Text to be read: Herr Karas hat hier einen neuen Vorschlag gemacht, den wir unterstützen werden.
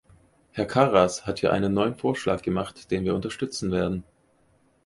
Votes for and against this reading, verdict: 4, 0, accepted